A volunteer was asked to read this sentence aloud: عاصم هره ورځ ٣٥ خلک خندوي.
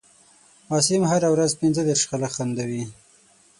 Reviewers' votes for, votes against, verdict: 0, 2, rejected